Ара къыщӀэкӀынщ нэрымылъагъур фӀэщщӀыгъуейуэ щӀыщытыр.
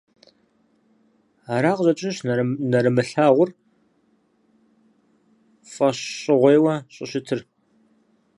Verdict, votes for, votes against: rejected, 0, 4